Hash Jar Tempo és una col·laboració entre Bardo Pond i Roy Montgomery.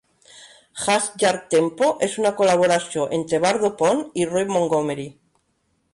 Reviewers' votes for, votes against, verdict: 2, 0, accepted